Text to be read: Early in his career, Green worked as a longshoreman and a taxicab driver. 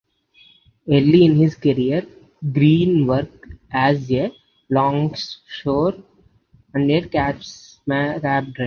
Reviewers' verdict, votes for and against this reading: rejected, 0, 2